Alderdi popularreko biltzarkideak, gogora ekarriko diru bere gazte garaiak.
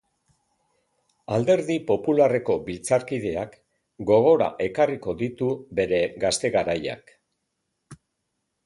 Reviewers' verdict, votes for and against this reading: accepted, 4, 1